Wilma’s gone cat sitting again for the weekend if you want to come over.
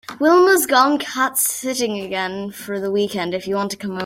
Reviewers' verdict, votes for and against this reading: rejected, 0, 3